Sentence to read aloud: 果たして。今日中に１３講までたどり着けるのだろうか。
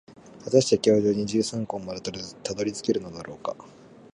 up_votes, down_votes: 0, 2